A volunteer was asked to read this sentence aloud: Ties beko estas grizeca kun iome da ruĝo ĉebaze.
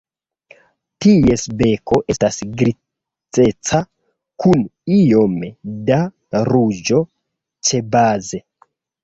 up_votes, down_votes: 0, 2